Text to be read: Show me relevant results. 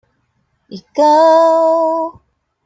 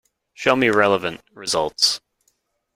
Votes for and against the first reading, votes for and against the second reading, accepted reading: 0, 2, 2, 0, second